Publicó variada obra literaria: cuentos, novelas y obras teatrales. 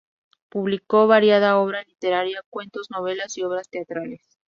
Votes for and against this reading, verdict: 2, 0, accepted